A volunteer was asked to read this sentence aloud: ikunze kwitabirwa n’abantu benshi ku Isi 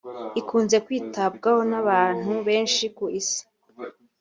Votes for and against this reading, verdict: 1, 2, rejected